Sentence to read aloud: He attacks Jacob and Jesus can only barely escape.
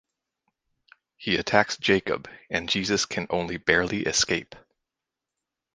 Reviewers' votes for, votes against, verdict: 4, 0, accepted